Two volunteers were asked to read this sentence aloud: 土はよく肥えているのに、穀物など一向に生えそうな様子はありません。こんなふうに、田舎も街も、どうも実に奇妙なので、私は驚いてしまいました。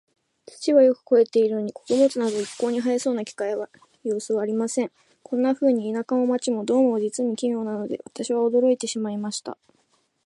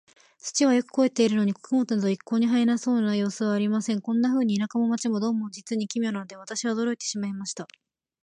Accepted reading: second